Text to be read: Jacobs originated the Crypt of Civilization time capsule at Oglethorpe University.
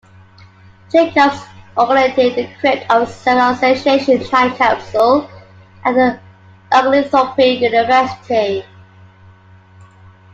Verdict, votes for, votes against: rejected, 1, 2